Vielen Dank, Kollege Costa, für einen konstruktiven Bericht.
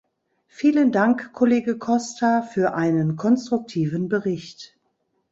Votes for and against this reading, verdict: 2, 0, accepted